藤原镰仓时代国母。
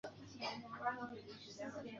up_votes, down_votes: 0, 2